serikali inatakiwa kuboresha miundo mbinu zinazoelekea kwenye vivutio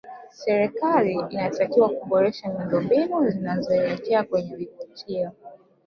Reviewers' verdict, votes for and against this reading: rejected, 1, 2